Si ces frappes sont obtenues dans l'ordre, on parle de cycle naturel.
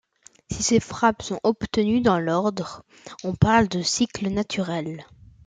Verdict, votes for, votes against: accepted, 2, 0